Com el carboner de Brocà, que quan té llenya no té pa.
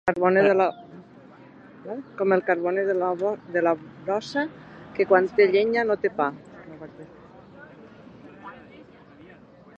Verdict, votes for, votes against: rejected, 0, 2